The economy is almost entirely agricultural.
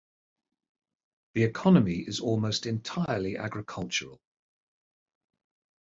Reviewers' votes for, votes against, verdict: 2, 0, accepted